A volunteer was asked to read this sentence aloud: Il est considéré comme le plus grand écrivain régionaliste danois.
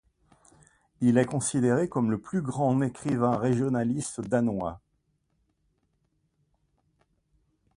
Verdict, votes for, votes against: rejected, 1, 2